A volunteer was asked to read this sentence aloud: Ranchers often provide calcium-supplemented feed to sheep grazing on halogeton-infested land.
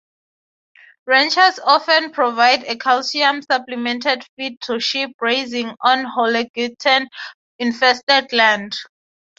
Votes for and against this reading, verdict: 3, 0, accepted